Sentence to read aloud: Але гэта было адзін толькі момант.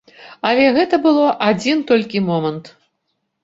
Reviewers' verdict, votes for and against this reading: accepted, 3, 0